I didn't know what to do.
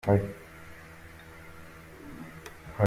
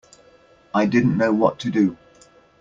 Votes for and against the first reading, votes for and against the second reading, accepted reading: 0, 2, 2, 0, second